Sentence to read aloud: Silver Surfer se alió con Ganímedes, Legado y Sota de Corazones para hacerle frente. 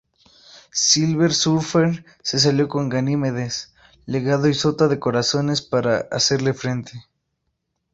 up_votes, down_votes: 2, 0